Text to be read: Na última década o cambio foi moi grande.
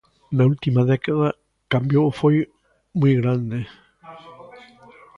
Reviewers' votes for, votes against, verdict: 1, 2, rejected